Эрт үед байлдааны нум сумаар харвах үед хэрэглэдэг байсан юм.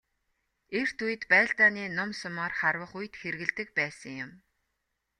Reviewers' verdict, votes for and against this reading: accepted, 2, 0